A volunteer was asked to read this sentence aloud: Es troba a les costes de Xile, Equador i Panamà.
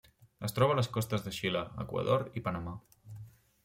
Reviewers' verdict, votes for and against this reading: accepted, 3, 0